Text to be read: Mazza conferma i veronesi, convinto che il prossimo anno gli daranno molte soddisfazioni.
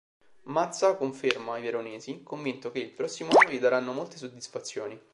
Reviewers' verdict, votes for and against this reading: rejected, 2, 3